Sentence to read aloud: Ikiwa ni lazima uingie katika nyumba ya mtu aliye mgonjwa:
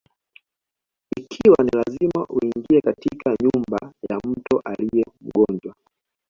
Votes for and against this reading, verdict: 2, 0, accepted